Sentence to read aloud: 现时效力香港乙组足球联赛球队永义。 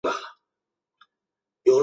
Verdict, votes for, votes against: rejected, 1, 2